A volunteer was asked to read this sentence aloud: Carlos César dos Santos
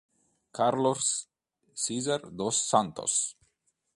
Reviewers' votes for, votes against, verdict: 2, 1, accepted